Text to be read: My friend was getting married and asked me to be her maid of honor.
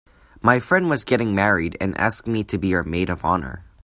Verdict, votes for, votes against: accepted, 3, 0